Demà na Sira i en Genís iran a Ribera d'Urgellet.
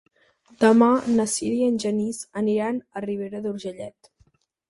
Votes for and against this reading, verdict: 2, 4, rejected